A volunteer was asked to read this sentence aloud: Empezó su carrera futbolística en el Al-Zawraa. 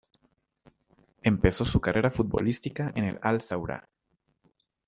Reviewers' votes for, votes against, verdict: 2, 0, accepted